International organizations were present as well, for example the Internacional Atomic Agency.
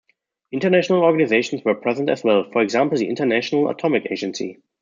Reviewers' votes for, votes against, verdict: 1, 2, rejected